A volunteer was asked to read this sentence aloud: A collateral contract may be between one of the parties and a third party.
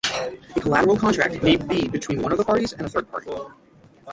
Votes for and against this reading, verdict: 0, 6, rejected